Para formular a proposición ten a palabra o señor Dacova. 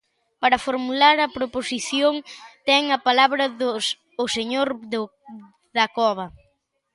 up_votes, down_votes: 0, 2